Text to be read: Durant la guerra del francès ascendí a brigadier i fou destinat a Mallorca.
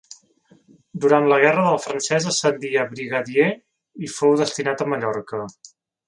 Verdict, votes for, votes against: accepted, 2, 0